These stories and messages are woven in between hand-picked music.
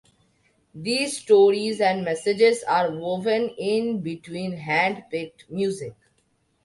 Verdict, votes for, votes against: accepted, 2, 0